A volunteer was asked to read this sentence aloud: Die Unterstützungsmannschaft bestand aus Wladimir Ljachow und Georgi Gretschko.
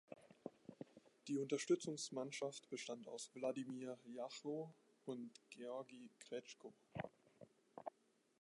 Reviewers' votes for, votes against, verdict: 2, 0, accepted